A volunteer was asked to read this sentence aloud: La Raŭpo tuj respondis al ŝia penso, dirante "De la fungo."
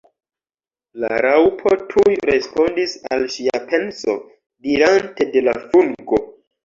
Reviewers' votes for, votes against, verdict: 0, 2, rejected